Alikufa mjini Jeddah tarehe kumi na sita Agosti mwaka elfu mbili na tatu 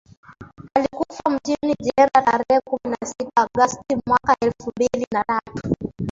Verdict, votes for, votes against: rejected, 0, 2